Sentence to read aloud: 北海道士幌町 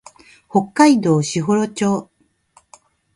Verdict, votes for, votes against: accepted, 9, 0